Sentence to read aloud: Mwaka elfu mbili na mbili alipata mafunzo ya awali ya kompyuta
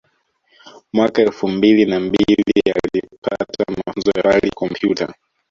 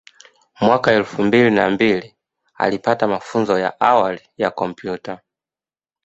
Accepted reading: second